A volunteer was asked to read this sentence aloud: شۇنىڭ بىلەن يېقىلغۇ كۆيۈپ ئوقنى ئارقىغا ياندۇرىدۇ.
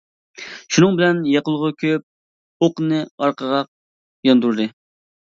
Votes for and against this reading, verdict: 0, 2, rejected